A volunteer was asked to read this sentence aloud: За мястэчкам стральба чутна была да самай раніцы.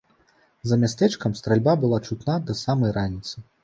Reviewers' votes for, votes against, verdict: 0, 2, rejected